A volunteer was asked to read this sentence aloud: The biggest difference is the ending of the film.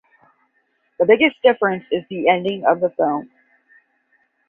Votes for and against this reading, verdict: 10, 0, accepted